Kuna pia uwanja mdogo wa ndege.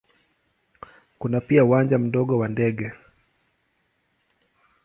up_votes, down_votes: 2, 0